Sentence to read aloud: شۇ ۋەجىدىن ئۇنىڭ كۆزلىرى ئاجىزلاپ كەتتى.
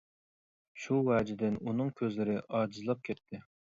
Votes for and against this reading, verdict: 2, 0, accepted